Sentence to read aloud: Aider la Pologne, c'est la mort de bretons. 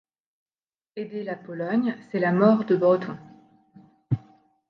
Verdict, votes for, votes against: rejected, 1, 2